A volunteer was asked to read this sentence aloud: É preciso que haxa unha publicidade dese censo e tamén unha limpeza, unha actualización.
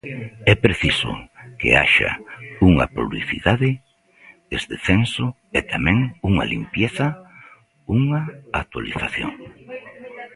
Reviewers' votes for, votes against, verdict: 1, 2, rejected